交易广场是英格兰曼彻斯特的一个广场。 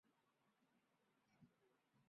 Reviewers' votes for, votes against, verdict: 3, 5, rejected